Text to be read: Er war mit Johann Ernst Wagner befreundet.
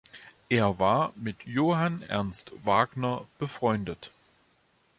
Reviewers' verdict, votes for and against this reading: accepted, 2, 0